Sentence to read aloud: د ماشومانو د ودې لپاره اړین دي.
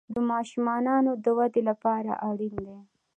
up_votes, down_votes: 2, 0